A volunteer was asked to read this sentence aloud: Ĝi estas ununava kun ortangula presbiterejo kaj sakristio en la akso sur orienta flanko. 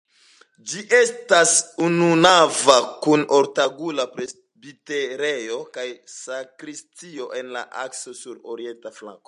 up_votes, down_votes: 2, 0